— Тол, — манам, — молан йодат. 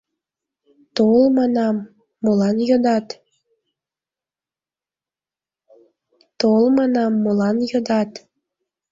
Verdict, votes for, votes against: rejected, 2, 5